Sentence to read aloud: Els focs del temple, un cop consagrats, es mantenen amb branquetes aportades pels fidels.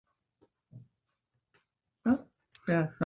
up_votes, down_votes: 0, 2